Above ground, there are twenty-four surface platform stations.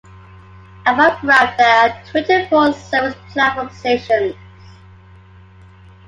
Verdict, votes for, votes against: accepted, 2, 1